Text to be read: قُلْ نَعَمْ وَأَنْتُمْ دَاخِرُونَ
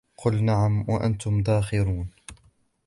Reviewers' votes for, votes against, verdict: 2, 0, accepted